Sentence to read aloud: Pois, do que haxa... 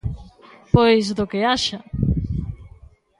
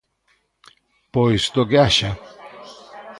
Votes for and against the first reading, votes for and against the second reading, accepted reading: 2, 0, 1, 2, first